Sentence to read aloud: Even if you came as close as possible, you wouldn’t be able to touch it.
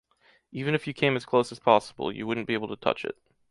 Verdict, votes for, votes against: accepted, 2, 0